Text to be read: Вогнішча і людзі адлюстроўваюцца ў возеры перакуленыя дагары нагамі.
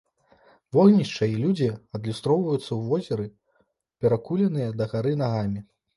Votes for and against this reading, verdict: 2, 0, accepted